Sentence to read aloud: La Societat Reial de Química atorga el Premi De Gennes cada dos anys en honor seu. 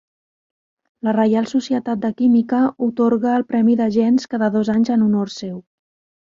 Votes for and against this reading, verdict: 1, 2, rejected